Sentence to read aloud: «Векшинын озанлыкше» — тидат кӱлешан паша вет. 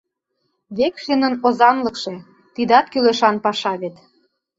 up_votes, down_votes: 2, 0